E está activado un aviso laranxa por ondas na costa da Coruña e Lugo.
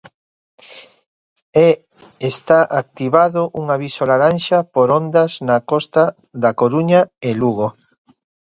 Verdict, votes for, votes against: accepted, 2, 0